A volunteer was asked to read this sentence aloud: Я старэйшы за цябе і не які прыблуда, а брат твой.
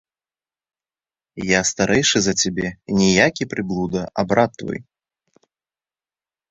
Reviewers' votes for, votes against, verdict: 1, 2, rejected